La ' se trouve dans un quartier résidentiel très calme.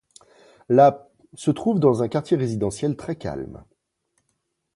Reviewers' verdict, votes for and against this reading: accepted, 2, 0